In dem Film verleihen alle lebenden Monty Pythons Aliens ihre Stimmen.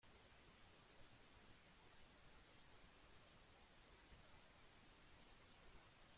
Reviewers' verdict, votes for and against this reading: rejected, 0, 2